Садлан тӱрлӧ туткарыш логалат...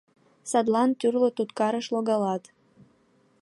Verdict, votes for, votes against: accepted, 2, 0